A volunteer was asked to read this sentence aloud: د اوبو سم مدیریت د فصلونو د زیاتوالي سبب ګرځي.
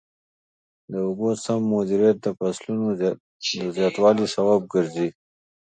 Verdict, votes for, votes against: accepted, 2, 0